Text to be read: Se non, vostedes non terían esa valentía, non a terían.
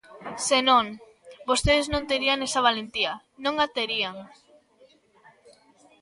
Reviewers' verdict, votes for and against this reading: rejected, 0, 2